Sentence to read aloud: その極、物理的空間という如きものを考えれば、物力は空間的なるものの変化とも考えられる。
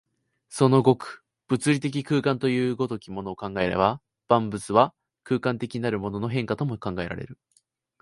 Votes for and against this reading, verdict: 0, 2, rejected